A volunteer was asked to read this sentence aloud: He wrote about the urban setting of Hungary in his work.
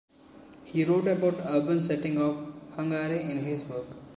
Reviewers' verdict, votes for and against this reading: accepted, 2, 0